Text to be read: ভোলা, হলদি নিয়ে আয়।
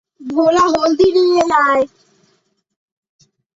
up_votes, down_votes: 2, 0